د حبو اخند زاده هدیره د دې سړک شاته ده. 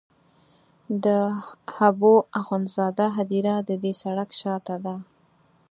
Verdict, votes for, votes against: rejected, 0, 4